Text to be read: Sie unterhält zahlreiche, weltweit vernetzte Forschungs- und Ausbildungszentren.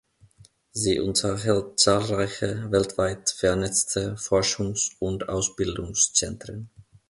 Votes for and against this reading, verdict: 3, 0, accepted